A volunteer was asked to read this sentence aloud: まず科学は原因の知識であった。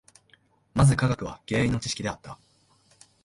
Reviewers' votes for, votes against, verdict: 1, 2, rejected